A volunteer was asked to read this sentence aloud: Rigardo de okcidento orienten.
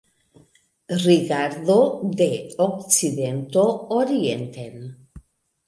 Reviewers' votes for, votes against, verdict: 2, 0, accepted